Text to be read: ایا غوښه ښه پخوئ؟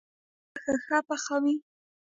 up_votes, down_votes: 0, 2